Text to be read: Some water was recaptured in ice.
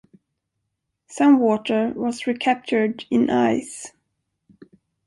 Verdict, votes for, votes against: accepted, 4, 0